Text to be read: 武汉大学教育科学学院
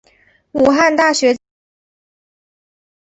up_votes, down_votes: 0, 2